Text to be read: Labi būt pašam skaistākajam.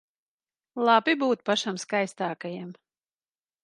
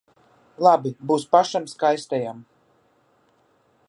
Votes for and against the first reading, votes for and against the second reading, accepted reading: 2, 0, 0, 2, first